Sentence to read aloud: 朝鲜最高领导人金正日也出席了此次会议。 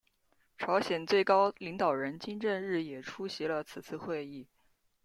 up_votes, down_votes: 2, 1